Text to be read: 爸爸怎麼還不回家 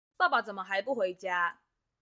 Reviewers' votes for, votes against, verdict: 2, 0, accepted